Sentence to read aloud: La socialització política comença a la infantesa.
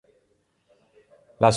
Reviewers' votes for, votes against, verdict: 0, 2, rejected